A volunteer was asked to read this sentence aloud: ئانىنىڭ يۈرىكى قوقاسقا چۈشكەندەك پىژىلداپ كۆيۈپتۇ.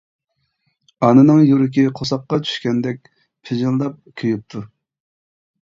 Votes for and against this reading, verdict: 1, 2, rejected